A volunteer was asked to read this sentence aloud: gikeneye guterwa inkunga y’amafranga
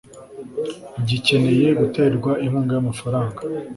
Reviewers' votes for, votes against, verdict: 2, 0, accepted